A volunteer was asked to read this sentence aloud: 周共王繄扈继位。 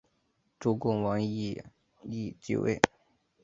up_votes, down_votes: 3, 1